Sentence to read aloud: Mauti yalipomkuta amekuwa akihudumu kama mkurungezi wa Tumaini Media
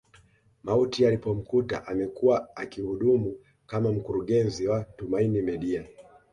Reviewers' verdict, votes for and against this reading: accepted, 2, 0